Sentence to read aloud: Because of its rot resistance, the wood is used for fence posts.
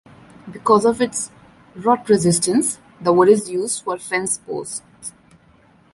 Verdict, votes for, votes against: accepted, 2, 0